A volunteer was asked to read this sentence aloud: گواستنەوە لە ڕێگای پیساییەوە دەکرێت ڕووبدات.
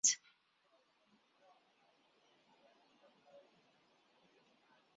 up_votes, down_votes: 0, 4